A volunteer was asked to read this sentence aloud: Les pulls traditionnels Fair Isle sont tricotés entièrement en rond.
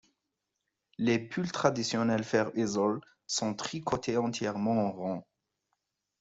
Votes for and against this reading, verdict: 1, 2, rejected